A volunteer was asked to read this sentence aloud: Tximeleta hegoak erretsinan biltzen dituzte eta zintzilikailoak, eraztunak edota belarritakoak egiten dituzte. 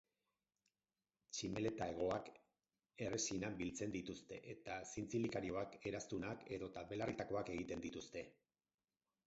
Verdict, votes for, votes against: accepted, 4, 2